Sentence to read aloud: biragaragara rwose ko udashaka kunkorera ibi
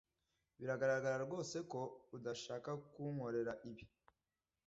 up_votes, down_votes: 2, 0